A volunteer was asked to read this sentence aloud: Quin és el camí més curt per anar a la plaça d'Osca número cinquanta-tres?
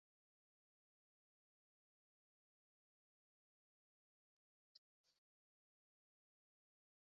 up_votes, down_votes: 0, 2